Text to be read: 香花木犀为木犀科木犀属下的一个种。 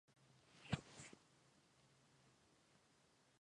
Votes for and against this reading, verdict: 0, 3, rejected